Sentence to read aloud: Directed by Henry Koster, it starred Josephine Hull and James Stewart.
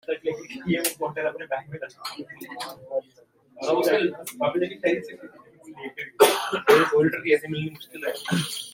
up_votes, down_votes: 0, 2